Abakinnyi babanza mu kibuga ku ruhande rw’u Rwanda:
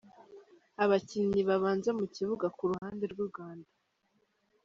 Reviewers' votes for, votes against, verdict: 2, 1, accepted